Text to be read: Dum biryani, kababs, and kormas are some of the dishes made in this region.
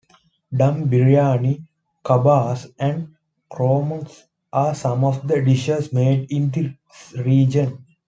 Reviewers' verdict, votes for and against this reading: accepted, 2, 0